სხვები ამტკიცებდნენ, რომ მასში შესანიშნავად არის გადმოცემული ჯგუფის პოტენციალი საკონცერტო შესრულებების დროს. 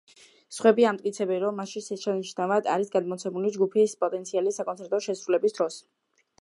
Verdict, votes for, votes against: rejected, 0, 2